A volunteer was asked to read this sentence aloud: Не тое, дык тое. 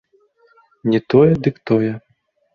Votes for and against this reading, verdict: 2, 0, accepted